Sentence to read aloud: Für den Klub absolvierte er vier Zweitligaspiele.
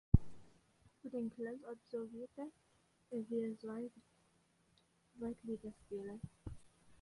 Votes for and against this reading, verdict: 0, 2, rejected